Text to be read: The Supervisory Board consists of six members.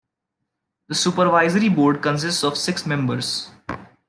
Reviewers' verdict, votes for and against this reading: rejected, 1, 2